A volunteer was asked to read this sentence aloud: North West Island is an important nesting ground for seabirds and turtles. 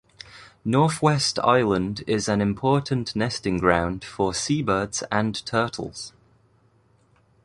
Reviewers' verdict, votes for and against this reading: accepted, 2, 0